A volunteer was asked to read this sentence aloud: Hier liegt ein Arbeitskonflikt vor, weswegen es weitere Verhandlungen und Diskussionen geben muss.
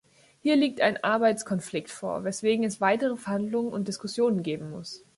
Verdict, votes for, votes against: accepted, 2, 0